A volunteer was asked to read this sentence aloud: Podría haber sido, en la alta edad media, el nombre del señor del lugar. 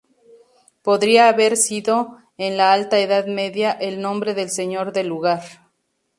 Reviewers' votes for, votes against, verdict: 2, 0, accepted